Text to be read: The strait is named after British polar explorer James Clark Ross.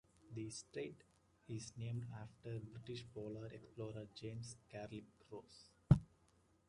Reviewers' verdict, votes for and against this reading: rejected, 0, 3